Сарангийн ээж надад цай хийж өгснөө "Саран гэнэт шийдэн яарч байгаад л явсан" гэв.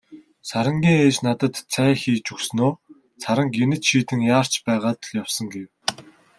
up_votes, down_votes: 2, 0